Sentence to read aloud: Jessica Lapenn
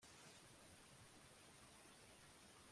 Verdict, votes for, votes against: rejected, 0, 2